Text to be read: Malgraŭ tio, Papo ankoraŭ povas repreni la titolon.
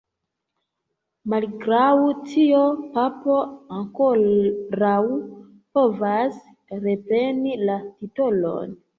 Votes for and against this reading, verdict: 1, 2, rejected